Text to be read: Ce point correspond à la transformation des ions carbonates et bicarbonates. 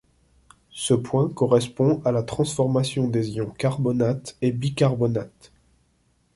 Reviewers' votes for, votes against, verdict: 2, 0, accepted